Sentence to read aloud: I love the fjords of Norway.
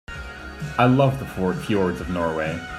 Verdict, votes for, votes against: rejected, 1, 2